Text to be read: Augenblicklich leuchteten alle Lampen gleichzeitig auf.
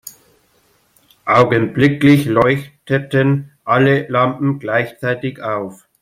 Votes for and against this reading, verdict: 2, 0, accepted